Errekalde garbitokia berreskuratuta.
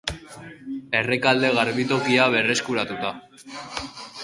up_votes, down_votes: 4, 0